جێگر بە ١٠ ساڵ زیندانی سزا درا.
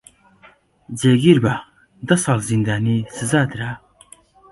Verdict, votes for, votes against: rejected, 0, 2